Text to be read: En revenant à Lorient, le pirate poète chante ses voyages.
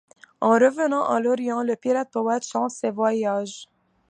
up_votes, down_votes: 2, 0